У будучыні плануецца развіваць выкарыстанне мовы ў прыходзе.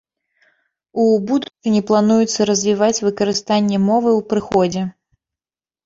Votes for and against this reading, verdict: 0, 2, rejected